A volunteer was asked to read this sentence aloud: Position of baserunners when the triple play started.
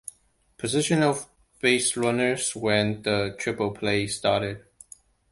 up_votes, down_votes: 2, 0